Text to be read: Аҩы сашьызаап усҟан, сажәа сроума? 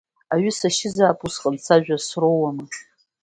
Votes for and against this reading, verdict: 1, 2, rejected